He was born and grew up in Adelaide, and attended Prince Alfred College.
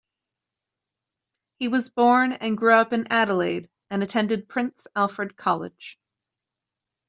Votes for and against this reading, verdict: 2, 0, accepted